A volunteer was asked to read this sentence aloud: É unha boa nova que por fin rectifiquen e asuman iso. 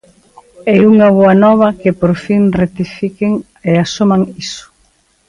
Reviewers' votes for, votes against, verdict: 2, 0, accepted